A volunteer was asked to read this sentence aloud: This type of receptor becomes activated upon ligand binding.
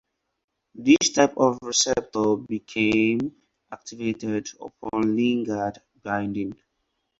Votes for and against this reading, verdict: 0, 4, rejected